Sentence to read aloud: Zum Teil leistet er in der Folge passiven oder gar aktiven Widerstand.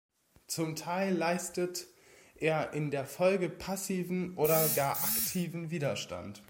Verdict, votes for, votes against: rejected, 1, 2